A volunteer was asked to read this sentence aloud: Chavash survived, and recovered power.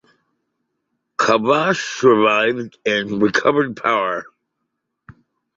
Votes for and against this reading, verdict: 2, 0, accepted